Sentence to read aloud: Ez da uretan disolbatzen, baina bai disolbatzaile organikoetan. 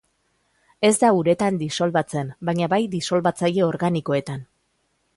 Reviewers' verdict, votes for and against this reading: accepted, 2, 0